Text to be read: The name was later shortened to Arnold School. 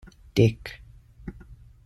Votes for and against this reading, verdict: 0, 2, rejected